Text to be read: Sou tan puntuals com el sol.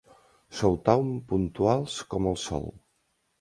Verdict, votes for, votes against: accepted, 2, 0